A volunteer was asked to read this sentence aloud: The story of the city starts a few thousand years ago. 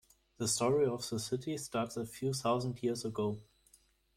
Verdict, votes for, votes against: accepted, 2, 1